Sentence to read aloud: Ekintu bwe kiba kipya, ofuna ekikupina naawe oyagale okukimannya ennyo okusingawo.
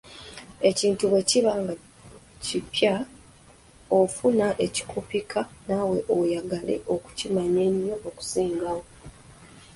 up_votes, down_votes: 1, 3